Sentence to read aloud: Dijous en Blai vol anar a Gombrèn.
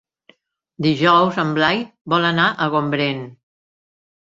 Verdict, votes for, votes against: accepted, 3, 0